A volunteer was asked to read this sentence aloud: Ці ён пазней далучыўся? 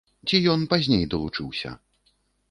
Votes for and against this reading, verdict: 2, 0, accepted